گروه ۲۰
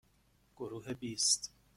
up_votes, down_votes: 0, 2